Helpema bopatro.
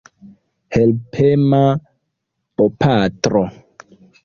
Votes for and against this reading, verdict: 2, 0, accepted